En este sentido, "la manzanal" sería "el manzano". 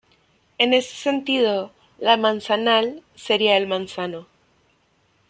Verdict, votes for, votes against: rejected, 1, 2